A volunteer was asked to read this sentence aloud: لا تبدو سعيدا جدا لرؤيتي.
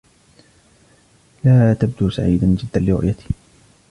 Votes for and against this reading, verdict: 2, 1, accepted